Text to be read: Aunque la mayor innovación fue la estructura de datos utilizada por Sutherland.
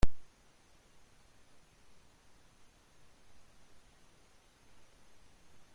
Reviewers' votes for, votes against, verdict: 0, 2, rejected